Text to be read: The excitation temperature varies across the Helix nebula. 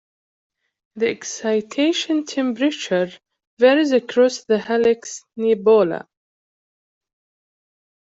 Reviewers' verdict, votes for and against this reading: rejected, 0, 2